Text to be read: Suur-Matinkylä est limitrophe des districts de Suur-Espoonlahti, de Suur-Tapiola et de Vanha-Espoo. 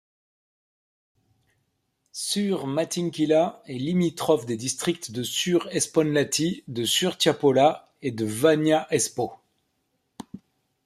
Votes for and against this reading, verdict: 1, 2, rejected